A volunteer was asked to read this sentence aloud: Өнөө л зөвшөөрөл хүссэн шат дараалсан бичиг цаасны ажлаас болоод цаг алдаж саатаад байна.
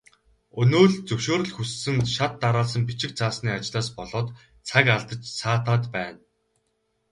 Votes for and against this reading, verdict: 2, 0, accepted